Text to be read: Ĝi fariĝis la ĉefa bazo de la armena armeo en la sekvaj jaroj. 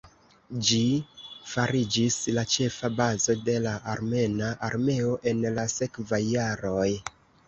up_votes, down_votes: 2, 0